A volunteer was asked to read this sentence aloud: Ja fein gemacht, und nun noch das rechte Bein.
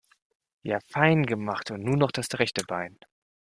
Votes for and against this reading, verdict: 1, 2, rejected